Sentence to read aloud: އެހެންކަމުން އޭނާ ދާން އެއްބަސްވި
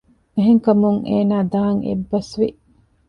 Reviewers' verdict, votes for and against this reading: accepted, 2, 0